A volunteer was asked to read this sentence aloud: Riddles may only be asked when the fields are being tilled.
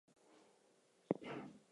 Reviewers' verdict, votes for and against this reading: rejected, 0, 2